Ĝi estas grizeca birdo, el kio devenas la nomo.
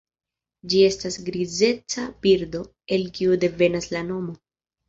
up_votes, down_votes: 2, 1